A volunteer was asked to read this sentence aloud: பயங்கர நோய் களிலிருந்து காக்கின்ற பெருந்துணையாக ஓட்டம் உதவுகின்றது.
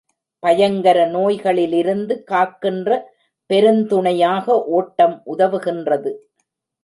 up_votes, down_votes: 2, 0